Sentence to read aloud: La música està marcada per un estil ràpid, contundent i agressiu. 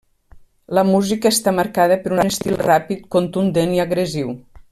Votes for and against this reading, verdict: 1, 2, rejected